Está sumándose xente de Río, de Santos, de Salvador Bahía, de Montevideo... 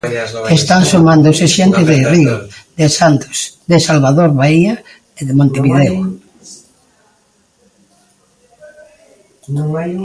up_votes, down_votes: 0, 2